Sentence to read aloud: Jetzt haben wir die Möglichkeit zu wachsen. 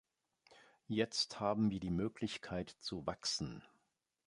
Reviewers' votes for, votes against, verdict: 2, 0, accepted